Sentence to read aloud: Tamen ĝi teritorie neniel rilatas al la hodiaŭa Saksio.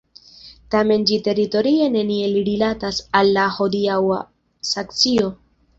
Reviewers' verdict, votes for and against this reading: accepted, 2, 1